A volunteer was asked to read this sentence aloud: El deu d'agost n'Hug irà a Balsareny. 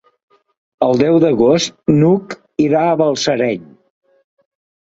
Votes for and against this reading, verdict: 2, 0, accepted